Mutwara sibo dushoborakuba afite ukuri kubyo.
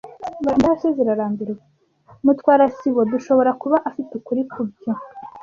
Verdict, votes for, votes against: rejected, 0, 2